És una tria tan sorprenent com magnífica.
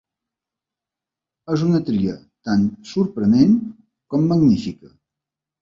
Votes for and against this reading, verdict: 2, 0, accepted